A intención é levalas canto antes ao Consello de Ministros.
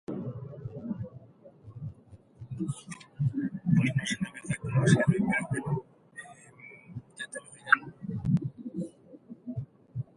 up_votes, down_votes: 0, 2